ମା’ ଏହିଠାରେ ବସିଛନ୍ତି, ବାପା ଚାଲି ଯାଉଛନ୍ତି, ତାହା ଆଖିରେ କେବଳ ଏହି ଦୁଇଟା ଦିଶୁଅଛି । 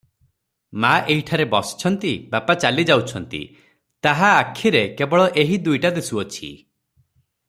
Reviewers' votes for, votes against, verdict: 3, 0, accepted